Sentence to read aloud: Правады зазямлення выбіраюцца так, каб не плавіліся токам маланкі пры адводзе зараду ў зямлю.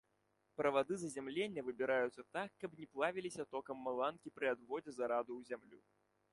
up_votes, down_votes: 1, 2